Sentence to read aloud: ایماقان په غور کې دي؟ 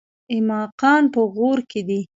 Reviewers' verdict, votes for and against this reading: rejected, 0, 2